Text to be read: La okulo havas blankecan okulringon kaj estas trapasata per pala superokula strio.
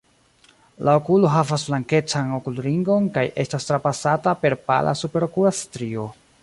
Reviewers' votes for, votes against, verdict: 2, 1, accepted